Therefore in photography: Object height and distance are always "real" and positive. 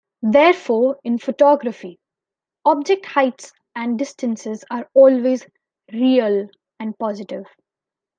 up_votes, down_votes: 0, 2